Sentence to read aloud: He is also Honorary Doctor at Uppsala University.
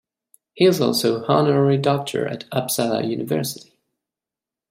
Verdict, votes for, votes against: accepted, 2, 1